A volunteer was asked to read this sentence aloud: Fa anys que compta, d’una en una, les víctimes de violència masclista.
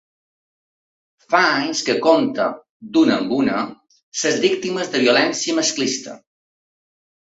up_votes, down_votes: 0, 2